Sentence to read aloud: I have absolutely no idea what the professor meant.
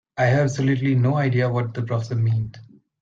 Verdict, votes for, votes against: rejected, 1, 2